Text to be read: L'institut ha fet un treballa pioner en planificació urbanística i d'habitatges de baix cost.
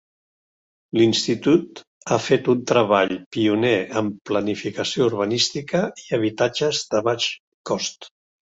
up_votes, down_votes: 0, 2